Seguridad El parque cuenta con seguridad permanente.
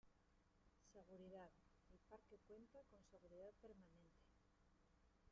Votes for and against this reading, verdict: 0, 2, rejected